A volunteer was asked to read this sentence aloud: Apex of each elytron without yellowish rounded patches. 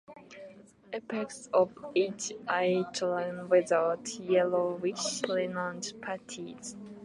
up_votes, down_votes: 2, 1